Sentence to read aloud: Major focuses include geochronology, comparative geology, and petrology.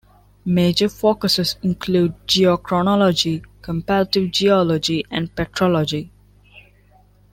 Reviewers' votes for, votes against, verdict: 2, 0, accepted